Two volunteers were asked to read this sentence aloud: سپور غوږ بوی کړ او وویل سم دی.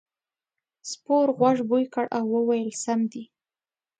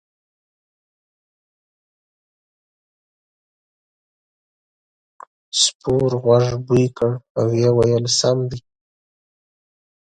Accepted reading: first